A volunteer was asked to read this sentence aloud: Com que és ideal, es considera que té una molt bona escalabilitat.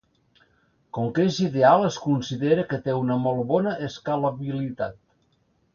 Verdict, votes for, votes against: accepted, 2, 0